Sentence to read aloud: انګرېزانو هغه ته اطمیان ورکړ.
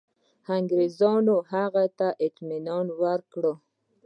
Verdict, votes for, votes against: rejected, 1, 2